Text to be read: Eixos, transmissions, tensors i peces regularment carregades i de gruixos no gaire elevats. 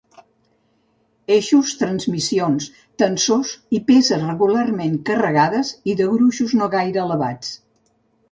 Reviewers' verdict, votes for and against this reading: accepted, 3, 0